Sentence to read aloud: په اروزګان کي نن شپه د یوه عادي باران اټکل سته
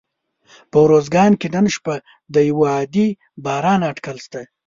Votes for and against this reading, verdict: 2, 0, accepted